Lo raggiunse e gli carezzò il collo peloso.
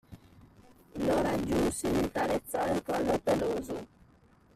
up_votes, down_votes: 0, 2